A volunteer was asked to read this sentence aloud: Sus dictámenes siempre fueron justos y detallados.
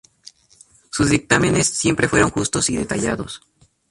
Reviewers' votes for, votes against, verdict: 2, 0, accepted